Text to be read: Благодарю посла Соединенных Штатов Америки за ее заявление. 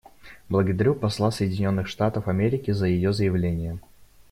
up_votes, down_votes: 2, 0